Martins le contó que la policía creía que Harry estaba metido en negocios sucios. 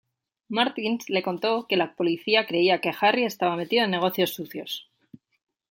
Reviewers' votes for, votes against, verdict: 2, 0, accepted